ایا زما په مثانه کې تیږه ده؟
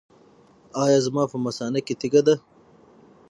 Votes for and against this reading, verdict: 6, 0, accepted